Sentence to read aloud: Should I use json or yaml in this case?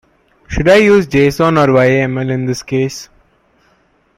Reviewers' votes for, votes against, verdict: 0, 2, rejected